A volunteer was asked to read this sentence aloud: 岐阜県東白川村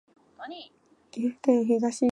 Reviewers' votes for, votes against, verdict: 0, 2, rejected